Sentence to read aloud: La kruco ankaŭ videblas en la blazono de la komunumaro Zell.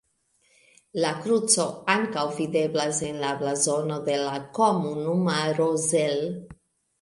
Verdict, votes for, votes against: accepted, 2, 1